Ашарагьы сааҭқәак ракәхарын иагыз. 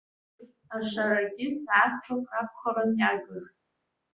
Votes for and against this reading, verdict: 2, 0, accepted